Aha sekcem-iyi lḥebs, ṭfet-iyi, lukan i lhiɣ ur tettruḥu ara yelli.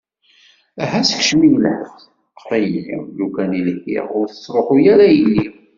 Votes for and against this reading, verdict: 2, 1, accepted